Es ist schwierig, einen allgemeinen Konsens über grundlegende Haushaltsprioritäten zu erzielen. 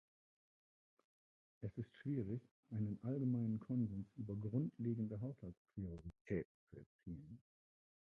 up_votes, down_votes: 0, 2